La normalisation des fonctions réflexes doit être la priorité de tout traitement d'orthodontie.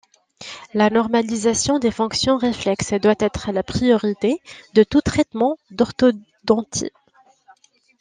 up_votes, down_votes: 1, 2